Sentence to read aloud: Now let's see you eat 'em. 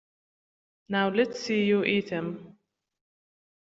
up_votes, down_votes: 2, 0